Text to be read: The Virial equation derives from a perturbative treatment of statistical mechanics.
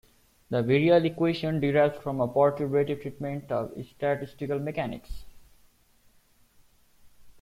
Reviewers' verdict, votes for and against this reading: rejected, 1, 2